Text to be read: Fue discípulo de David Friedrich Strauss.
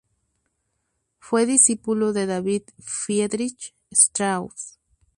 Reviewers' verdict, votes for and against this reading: accepted, 2, 0